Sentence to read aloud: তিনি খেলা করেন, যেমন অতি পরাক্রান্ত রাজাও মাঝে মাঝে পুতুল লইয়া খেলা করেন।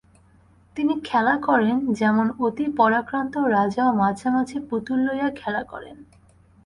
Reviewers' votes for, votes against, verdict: 2, 0, accepted